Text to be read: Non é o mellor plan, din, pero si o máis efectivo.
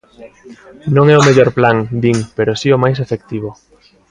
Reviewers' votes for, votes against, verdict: 2, 0, accepted